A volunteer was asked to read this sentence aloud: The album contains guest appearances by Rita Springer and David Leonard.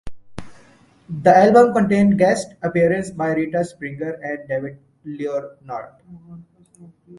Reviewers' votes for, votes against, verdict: 0, 2, rejected